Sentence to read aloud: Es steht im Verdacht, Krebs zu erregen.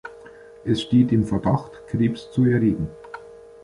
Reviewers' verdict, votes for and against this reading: accepted, 2, 1